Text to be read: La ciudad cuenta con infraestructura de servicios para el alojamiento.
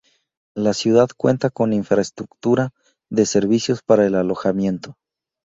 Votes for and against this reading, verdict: 2, 0, accepted